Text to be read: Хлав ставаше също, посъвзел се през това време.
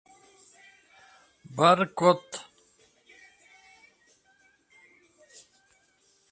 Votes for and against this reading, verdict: 0, 2, rejected